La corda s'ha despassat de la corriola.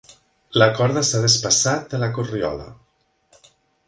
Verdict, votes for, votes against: accepted, 5, 0